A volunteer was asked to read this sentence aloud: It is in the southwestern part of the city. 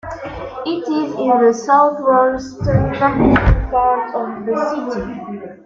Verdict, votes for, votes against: rejected, 0, 2